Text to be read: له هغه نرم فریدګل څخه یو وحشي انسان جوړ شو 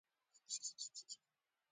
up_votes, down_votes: 1, 2